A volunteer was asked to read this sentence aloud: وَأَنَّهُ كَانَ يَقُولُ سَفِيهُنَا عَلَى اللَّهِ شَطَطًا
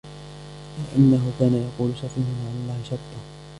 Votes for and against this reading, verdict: 0, 2, rejected